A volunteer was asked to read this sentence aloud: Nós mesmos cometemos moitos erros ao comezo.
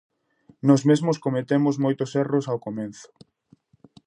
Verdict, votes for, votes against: rejected, 0, 2